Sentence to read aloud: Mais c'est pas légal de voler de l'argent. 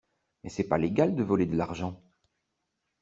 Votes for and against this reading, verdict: 2, 0, accepted